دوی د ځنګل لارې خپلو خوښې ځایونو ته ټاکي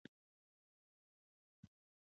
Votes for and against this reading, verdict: 1, 2, rejected